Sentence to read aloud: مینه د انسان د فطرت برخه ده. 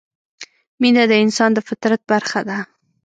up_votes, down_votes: 2, 0